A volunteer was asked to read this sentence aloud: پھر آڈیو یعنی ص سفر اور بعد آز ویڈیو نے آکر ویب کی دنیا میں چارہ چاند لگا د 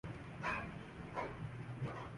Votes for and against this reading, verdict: 0, 2, rejected